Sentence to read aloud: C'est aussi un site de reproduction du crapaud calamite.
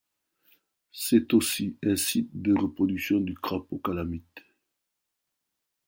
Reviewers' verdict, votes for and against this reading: accepted, 2, 0